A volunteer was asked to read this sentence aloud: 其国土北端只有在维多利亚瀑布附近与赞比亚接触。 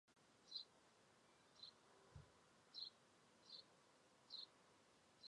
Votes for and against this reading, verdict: 6, 1, accepted